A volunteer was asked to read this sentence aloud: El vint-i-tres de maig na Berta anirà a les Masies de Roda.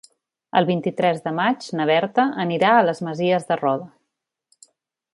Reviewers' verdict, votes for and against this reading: accepted, 3, 0